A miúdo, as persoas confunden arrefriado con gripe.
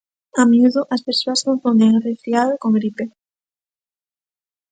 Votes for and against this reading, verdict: 1, 2, rejected